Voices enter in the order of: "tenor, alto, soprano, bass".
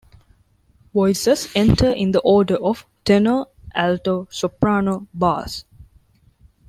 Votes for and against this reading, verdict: 1, 2, rejected